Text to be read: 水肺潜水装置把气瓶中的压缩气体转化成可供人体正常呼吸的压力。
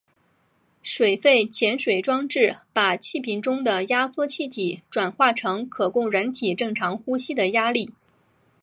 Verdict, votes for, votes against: accepted, 6, 0